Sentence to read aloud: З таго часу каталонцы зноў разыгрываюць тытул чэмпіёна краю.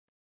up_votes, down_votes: 1, 2